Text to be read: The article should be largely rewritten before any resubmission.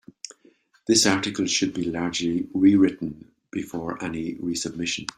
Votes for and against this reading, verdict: 1, 2, rejected